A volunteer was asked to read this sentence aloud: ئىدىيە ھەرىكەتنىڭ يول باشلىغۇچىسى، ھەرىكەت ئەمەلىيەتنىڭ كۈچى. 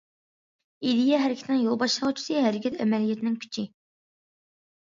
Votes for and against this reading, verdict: 1, 2, rejected